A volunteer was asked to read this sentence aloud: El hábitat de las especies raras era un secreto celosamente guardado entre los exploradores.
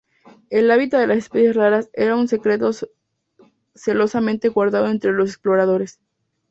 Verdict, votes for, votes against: rejected, 0, 2